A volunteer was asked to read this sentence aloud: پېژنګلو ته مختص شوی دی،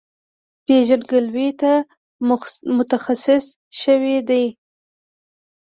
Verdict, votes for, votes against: rejected, 1, 2